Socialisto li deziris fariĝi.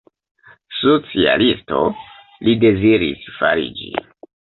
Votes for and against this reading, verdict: 2, 0, accepted